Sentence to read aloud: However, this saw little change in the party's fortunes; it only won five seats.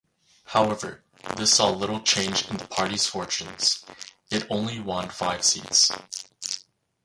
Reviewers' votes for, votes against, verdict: 2, 0, accepted